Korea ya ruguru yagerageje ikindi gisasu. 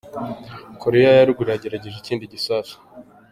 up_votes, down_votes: 2, 0